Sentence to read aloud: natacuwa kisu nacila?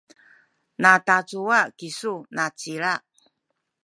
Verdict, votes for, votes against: accepted, 2, 0